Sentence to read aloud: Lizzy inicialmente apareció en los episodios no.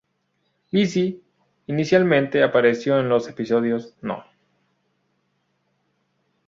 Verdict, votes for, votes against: accepted, 2, 0